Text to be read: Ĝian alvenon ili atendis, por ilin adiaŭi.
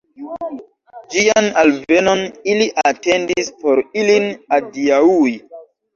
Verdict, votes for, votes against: rejected, 1, 2